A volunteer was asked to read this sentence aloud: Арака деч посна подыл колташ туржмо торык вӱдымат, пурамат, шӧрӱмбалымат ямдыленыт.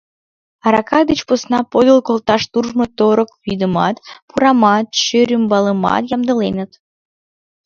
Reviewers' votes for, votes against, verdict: 2, 0, accepted